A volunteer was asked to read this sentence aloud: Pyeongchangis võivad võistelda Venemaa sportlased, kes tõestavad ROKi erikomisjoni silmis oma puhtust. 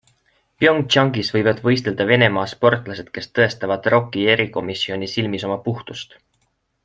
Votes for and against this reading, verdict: 2, 0, accepted